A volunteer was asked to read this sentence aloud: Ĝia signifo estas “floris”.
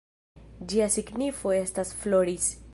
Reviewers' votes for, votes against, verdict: 0, 2, rejected